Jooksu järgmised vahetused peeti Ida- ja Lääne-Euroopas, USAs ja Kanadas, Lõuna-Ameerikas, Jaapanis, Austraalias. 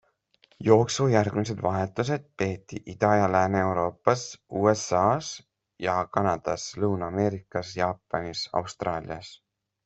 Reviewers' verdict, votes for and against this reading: accepted, 2, 0